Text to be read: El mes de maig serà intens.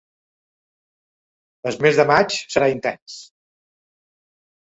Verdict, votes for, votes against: accepted, 2, 0